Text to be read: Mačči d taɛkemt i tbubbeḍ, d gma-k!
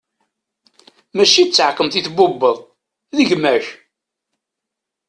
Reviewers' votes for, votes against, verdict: 2, 0, accepted